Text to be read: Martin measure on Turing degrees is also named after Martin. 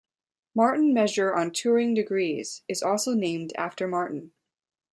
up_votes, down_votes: 2, 0